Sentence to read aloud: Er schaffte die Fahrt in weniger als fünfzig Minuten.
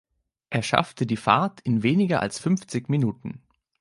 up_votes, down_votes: 2, 0